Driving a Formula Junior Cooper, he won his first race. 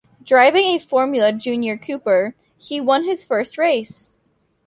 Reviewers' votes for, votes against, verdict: 2, 0, accepted